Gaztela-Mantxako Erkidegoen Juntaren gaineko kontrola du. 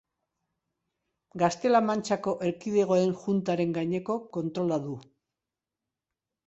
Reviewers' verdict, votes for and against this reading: accepted, 2, 0